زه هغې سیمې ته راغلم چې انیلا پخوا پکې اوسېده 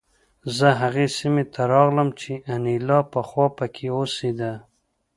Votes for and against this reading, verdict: 2, 0, accepted